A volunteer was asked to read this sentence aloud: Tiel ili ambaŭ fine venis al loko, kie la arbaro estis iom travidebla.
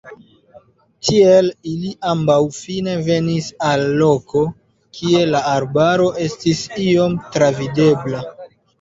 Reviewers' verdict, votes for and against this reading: accepted, 2, 0